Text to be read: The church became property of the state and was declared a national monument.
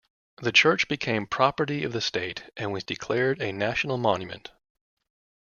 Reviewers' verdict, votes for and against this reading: accepted, 2, 0